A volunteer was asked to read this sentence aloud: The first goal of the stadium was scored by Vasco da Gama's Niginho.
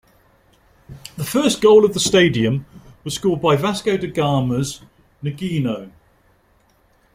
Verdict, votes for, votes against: accepted, 2, 0